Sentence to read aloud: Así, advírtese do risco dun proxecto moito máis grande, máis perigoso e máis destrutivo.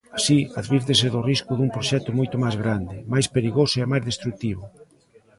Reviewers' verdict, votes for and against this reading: rejected, 0, 2